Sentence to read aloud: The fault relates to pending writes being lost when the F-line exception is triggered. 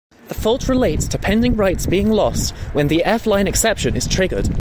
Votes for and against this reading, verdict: 2, 0, accepted